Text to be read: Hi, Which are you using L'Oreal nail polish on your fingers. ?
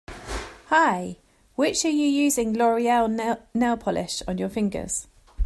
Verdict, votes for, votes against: rejected, 0, 2